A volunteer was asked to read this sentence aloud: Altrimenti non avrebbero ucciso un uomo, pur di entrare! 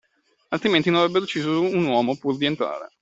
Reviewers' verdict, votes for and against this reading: rejected, 1, 2